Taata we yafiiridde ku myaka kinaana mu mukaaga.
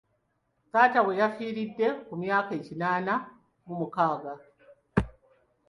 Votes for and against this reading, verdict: 2, 0, accepted